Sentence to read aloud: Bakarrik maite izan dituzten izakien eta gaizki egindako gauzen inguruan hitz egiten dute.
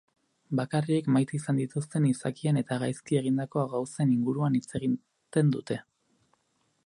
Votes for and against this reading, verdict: 0, 2, rejected